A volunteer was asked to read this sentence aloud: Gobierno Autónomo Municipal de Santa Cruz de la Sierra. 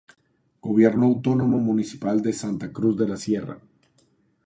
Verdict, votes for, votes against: rejected, 0, 2